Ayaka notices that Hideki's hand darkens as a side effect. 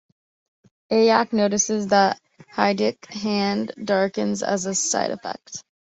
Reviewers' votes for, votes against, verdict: 0, 2, rejected